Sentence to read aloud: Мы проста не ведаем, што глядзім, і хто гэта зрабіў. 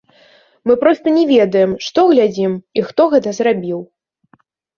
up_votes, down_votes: 2, 1